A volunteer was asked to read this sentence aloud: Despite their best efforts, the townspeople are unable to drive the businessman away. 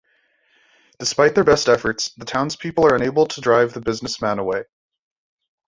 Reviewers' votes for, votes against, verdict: 2, 0, accepted